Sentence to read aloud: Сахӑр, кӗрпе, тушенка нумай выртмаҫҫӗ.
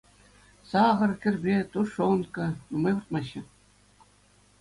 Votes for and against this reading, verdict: 2, 0, accepted